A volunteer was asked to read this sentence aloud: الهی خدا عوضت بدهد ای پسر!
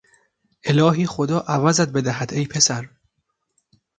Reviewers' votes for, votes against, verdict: 2, 0, accepted